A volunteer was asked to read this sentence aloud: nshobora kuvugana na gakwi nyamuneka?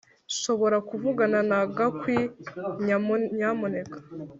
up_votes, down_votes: 1, 2